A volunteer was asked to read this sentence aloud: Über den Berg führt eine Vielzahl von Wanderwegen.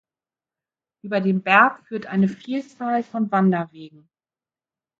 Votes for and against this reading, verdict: 2, 0, accepted